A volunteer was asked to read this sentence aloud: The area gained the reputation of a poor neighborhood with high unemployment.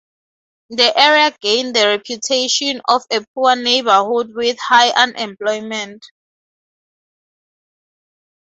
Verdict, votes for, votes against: accepted, 4, 0